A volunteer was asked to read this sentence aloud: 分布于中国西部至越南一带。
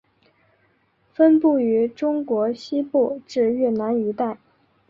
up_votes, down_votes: 2, 0